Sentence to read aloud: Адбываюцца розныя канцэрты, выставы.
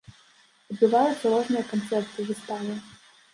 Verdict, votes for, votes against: rejected, 0, 2